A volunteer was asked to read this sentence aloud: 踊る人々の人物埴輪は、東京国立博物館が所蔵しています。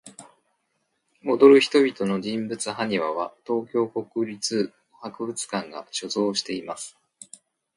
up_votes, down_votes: 2, 0